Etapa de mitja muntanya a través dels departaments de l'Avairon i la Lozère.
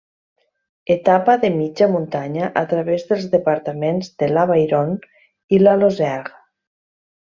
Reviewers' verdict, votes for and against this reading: accepted, 2, 0